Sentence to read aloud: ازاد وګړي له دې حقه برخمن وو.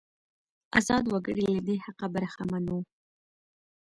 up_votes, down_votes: 1, 2